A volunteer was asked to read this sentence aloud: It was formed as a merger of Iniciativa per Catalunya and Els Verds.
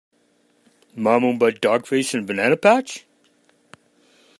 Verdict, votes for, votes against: rejected, 0, 2